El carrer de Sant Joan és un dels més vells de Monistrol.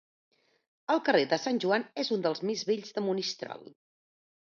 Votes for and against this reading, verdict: 3, 0, accepted